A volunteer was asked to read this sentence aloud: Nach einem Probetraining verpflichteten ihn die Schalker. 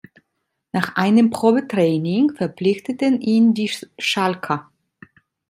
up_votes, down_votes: 2, 0